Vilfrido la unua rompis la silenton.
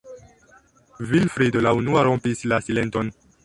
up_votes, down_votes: 1, 2